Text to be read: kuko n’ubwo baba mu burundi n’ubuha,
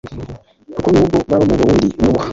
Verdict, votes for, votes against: rejected, 1, 2